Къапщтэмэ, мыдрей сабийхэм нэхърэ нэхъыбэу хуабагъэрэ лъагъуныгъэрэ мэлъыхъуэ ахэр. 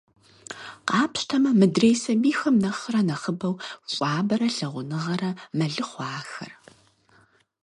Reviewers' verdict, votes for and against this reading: rejected, 2, 4